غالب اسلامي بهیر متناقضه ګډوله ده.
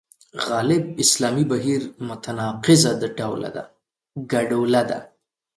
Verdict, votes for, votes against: rejected, 0, 2